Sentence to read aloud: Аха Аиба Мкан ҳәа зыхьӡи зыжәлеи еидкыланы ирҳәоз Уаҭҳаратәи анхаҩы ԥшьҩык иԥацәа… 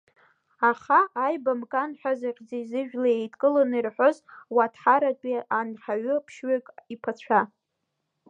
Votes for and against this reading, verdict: 1, 2, rejected